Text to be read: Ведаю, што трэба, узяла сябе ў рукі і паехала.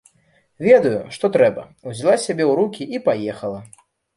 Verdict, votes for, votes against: accepted, 2, 0